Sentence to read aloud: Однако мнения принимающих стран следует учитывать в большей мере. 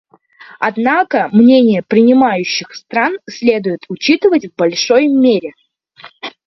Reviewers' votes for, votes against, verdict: 0, 2, rejected